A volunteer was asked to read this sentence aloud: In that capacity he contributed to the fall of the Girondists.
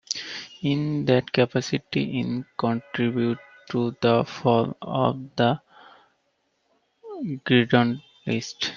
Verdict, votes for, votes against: rejected, 0, 2